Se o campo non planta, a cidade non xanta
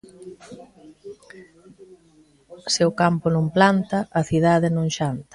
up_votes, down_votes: 2, 0